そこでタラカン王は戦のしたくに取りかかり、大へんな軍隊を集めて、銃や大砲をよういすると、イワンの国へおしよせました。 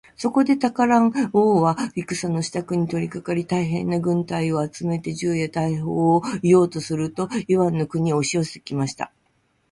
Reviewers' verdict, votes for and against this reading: rejected, 0, 2